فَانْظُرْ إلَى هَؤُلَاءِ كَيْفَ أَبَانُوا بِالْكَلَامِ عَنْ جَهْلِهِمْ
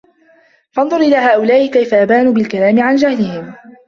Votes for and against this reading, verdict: 2, 0, accepted